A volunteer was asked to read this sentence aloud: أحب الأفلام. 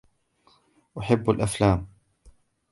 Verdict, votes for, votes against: accepted, 2, 1